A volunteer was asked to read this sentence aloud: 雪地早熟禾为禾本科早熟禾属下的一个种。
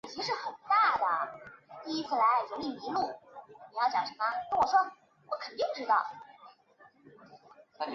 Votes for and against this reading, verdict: 0, 2, rejected